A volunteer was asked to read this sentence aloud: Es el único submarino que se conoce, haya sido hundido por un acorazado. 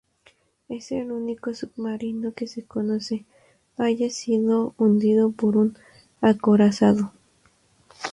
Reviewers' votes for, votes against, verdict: 2, 2, rejected